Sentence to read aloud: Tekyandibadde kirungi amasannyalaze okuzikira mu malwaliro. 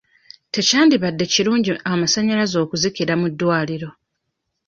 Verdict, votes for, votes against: rejected, 0, 2